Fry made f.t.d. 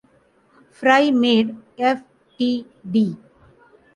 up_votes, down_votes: 0, 2